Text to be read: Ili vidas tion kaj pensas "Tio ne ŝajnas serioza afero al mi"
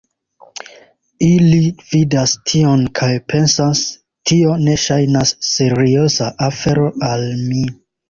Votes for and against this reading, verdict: 2, 0, accepted